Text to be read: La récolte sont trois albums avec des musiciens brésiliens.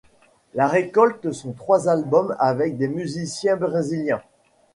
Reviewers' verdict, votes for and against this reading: accepted, 2, 0